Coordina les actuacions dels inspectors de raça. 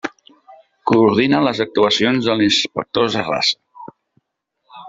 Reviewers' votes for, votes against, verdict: 0, 2, rejected